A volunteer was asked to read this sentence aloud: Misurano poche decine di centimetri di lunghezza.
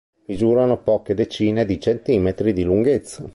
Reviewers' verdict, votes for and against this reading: accepted, 2, 0